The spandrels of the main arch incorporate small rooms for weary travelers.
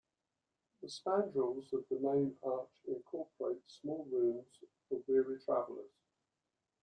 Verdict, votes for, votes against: accepted, 2, 0